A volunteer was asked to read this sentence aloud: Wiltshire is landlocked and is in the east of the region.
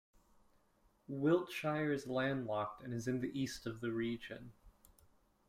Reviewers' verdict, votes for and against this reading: accepted, 2, 0